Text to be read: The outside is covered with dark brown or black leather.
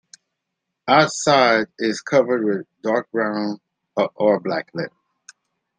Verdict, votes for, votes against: rejected, 1, 2